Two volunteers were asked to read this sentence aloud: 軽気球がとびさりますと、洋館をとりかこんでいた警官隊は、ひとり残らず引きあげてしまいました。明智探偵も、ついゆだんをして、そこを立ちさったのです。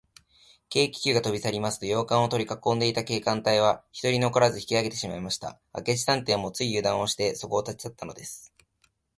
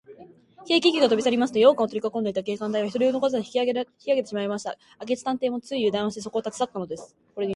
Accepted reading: first